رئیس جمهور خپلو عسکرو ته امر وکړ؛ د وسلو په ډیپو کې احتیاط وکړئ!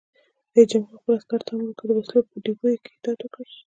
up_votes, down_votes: 1, 2